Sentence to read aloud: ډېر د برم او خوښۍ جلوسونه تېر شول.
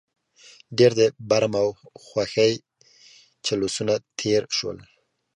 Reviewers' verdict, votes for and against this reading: accepted, 2, 0